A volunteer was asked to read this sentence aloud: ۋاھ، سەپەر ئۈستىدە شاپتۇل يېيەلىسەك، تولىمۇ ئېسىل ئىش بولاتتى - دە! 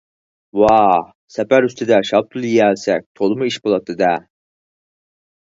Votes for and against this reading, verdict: 0, 4, rejected